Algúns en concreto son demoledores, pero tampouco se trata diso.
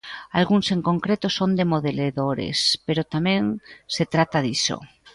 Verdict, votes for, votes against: rejected, 0, 2